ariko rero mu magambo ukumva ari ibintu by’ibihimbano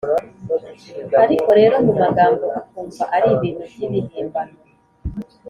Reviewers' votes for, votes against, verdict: 2, 0, accepted